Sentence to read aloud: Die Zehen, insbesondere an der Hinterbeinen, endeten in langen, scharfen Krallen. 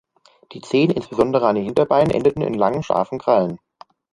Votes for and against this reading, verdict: 1, 2, rejected